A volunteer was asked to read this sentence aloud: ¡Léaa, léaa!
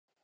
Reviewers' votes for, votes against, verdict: 0, 4, rejected